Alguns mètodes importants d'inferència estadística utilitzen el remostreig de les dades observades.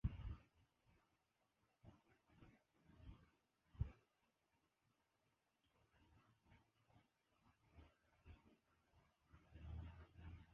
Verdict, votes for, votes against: rejected, 0, 4